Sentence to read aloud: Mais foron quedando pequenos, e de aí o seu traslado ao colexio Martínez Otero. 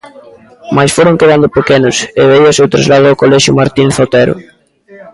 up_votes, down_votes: 0, 2